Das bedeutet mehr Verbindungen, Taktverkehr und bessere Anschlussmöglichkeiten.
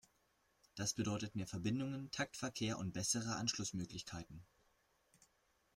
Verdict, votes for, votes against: rejected, 1, 2